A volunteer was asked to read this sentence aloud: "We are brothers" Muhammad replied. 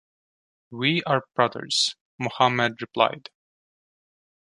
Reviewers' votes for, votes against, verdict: 2, 0, accepted